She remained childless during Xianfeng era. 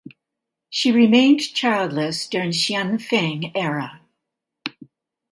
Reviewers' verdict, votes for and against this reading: accepted, 2, 0